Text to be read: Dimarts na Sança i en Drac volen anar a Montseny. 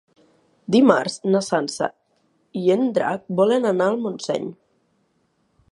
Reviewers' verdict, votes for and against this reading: rejected, 0, 2